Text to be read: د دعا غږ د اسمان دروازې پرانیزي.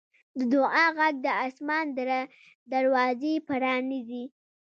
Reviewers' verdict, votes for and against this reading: accepted, 2, 0